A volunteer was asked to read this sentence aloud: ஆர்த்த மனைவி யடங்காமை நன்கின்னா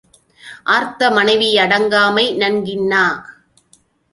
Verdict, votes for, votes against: accepted, 2, 0